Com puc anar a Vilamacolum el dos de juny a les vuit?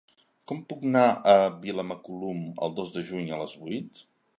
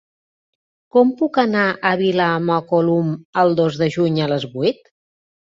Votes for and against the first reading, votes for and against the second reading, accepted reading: 1, 2, 2, 0, second